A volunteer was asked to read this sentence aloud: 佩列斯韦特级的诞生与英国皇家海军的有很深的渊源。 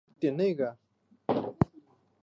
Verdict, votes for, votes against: rejected, 0, 2